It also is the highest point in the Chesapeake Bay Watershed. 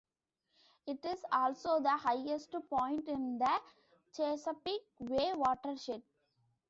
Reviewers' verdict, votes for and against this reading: accepted, 2, 0